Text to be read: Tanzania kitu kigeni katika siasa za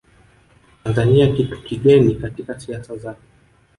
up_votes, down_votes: 1, 2